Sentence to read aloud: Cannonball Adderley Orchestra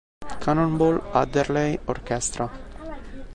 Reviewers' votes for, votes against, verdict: 2, 1, accepted